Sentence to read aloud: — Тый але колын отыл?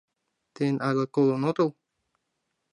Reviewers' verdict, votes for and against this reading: rejected, 0, 2